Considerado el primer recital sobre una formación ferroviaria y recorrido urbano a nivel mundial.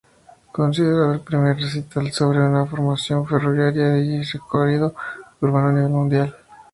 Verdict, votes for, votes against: rejected, 0, 2